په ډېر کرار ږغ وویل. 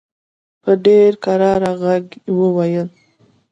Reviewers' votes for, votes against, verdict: 2, 0, accepted